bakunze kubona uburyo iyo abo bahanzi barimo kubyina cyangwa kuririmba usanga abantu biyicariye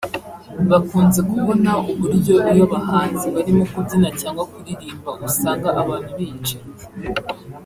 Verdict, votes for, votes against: rejected, 0, 2